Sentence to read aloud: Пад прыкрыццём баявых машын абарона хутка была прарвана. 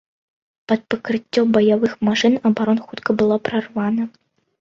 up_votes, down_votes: 0, 2